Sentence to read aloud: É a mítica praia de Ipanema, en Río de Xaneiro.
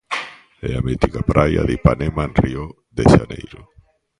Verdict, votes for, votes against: rejected, 1, 2